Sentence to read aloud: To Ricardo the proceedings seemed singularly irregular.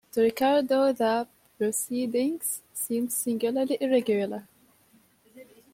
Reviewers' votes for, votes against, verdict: 2, 0, accepted